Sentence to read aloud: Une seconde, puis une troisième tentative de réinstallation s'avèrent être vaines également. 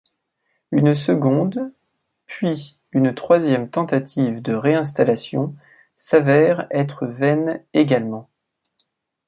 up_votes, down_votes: 2, 0